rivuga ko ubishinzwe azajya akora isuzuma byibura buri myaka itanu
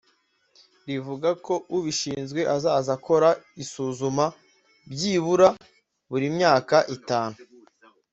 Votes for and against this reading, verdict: 1, 2, rejected